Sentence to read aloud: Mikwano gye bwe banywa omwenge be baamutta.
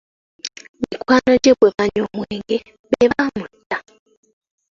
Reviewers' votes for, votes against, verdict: 2, 0, accepted